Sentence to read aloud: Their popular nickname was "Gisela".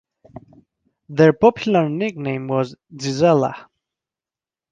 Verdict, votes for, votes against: accepted, 3, 0